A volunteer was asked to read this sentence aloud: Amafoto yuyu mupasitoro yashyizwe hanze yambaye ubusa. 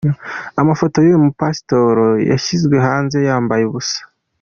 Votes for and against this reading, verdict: 2, 0, accepted